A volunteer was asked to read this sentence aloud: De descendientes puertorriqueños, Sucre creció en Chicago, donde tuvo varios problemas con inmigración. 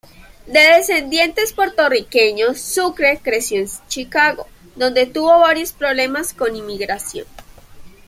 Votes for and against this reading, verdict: 2, 1, accepted